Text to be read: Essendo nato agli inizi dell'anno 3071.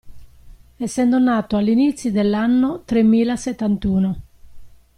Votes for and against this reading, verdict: 0, 2, rejected